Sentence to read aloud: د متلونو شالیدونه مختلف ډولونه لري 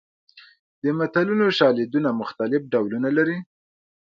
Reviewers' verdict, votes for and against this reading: accepted, 2, 0